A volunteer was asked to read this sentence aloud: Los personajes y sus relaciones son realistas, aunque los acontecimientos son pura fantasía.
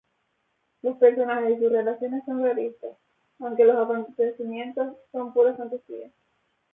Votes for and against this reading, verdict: 0, 2, rejected